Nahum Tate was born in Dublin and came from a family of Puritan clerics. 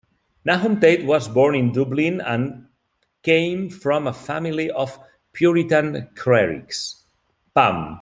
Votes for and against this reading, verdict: 1, 2, rejected